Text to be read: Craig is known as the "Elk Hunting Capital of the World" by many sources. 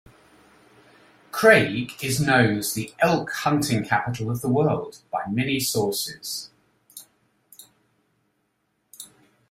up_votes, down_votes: 2, 0